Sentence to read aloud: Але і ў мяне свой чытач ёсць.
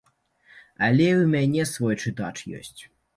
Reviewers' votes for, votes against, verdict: 2, 0, accepted